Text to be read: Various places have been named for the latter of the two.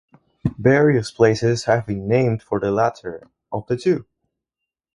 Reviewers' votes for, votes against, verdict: 4, 0, accepted